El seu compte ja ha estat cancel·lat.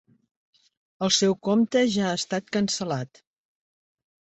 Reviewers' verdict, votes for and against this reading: accepted, 3, 0